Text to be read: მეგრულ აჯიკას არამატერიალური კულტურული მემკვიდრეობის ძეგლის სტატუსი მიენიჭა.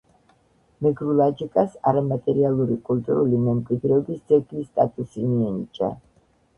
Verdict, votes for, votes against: rejected, 0, 2